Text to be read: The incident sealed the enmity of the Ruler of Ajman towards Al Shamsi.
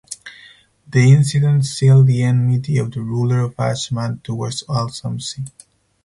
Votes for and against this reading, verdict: 0, 4, rejected